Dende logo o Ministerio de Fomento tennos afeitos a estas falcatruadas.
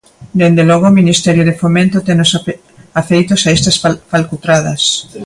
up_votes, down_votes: 0, 2